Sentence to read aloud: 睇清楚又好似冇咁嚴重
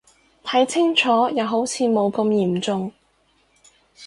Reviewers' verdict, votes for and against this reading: accepted, 4, 0